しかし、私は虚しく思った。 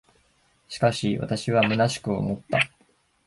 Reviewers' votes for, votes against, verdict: 2, 0, accepted